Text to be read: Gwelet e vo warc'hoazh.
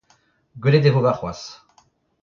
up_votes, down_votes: 0, 2